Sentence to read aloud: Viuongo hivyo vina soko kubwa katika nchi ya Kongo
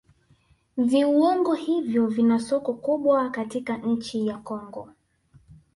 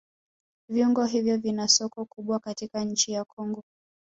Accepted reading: first